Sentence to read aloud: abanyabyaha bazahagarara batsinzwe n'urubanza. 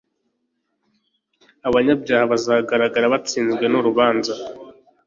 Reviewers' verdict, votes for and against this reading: rejected, 0, 2